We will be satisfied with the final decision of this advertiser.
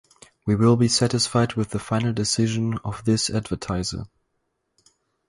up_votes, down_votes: 2, 2